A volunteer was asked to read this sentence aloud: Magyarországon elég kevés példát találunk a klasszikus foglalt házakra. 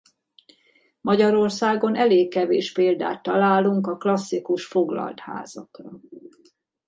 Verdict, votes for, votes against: rejected, 0, 2